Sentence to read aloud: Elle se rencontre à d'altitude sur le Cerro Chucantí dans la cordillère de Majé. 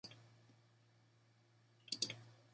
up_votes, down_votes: 0, 2